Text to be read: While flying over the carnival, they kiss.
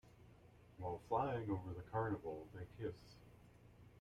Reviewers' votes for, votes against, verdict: 1, 2, rejected